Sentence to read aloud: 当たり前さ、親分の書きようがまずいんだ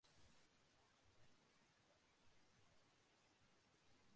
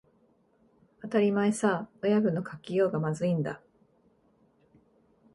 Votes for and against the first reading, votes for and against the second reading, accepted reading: 0, 2, 9, 0, second